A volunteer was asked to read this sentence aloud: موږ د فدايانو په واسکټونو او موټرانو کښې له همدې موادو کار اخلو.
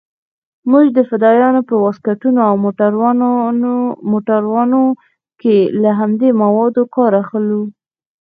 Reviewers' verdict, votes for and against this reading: accepted, 2, 1